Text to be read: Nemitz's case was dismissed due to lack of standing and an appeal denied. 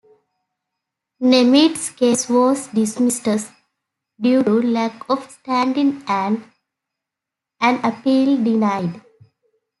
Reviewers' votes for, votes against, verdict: 2, 0, accepted